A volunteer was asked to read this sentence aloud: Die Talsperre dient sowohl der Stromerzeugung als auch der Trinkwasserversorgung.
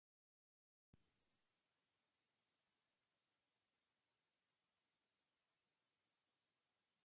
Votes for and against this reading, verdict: 0, 2, rejected